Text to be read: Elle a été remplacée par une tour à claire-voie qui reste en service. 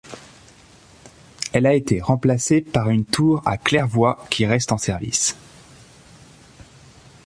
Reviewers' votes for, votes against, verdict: 2, 0, accepted